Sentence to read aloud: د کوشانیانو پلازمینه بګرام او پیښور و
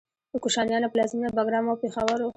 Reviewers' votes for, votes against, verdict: 2, 0, accepted